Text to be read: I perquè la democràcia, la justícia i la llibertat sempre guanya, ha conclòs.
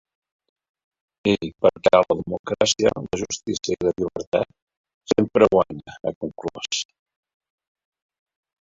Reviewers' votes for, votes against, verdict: 0, 3, rejected